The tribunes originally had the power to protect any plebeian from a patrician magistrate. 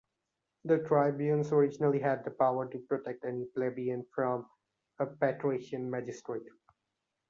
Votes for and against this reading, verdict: 2, 0, accepted